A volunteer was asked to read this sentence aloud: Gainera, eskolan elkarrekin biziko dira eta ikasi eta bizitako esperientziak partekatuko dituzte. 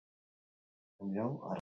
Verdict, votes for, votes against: rejected, 0, 4